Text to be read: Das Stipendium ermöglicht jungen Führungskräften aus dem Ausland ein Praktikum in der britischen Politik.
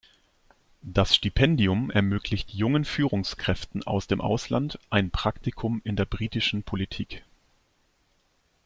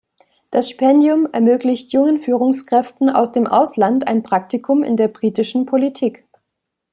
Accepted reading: first